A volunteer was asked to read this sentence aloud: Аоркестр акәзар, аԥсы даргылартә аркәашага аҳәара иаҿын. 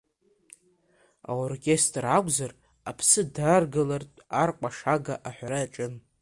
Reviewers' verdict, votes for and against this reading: rejected, 1, 2